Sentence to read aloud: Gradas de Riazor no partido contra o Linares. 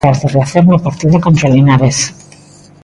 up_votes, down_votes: 0, 2